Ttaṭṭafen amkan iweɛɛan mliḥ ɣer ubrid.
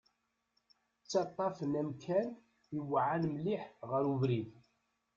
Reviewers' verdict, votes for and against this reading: accepted, 2, 0